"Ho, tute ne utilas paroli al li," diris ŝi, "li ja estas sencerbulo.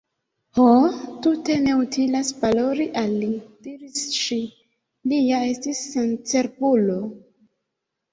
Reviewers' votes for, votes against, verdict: 1, 2, rejected